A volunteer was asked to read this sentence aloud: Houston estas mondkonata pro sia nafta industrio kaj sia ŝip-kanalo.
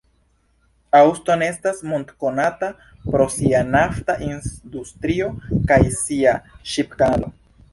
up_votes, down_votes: 1, 2